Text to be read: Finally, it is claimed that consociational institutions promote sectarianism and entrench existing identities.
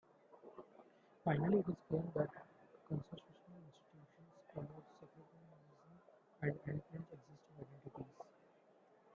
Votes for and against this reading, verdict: 0, 2, rejected